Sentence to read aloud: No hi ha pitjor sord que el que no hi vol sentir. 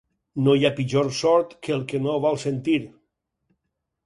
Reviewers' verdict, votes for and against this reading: rejected, 2, 4